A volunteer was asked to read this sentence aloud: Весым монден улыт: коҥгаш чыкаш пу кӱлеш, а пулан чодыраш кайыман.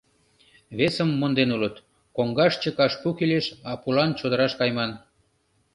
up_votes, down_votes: 2, 0